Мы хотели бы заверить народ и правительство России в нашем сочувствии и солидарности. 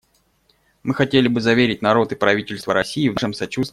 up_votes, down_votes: 0, 2